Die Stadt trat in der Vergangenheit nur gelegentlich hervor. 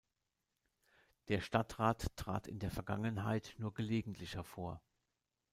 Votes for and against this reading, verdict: 1, 2, rejected